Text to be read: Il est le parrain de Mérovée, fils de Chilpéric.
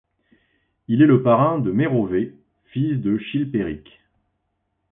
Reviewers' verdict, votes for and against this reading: accepted, 2, 0